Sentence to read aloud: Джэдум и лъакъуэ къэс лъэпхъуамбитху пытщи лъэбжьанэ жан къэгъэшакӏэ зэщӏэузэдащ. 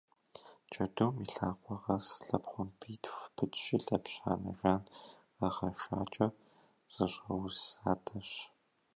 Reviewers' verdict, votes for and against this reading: accepted, 2, 0